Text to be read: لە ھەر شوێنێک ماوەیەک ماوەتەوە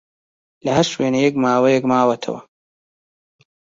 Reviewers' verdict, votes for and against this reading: accepted, 2, 1